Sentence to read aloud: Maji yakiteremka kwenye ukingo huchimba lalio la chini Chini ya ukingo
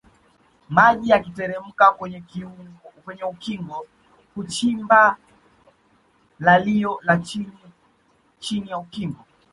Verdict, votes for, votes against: rejected, 1, 2